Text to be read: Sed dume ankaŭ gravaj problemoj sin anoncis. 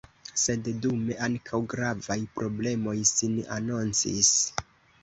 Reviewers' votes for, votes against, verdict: 2, 1, accepted